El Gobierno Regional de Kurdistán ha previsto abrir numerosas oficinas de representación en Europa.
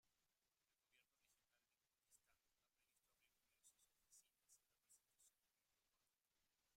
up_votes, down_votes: 0, 2